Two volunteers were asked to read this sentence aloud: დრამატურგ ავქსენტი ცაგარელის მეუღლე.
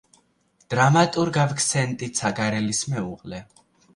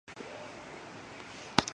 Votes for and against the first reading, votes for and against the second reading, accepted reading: 2, 0, 1, 2, first